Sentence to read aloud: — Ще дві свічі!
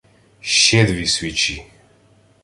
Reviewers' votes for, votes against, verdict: 2, 0, accepted